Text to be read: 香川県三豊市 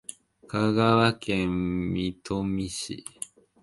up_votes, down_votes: 1, 2